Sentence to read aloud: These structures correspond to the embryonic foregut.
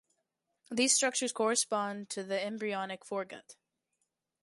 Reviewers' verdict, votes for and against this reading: accepted, 3, 0